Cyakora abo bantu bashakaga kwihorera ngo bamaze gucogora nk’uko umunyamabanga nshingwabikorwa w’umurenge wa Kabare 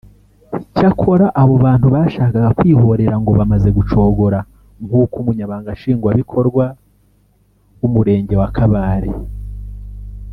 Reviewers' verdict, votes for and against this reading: rejected, 1, 2